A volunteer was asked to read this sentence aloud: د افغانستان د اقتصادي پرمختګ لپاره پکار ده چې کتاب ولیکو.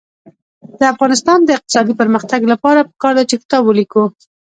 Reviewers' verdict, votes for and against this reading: rejected, 1, 2